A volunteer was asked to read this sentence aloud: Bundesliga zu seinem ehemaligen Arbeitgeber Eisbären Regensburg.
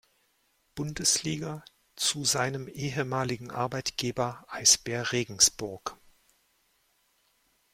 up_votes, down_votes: 0, 2